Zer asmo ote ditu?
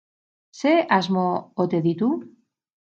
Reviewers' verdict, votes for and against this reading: rejected, 2, 2